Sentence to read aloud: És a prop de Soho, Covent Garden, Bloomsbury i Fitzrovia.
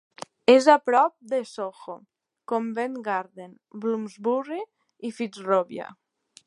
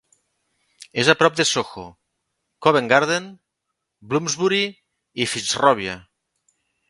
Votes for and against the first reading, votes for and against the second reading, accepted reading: 1, 2, 2, 0, second